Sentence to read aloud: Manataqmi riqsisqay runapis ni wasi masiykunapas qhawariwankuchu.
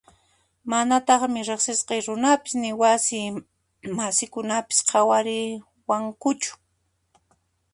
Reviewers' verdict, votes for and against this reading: rejected, 1, 2